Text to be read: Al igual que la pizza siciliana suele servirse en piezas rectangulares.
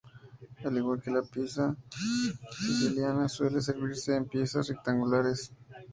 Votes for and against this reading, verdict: 0, 2, rejected